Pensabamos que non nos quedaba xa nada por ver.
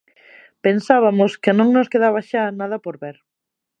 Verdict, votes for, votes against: rejected, 0, 2